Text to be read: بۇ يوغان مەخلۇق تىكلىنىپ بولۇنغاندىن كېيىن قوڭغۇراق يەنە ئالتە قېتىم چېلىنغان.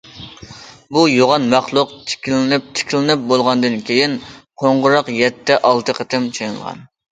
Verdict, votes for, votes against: rejected, 0, 2